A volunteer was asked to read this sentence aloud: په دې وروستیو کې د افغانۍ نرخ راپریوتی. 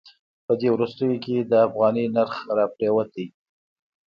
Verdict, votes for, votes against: accepted, 2, 0